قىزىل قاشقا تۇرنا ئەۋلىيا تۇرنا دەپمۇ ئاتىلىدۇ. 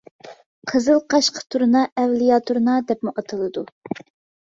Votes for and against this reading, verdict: 2, 0, accepted